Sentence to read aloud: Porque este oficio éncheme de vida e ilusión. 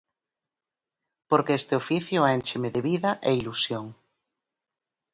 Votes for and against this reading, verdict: 6, 0, accepted